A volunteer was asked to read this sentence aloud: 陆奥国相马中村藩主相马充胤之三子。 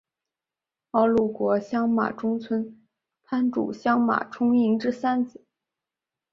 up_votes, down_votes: 1, 2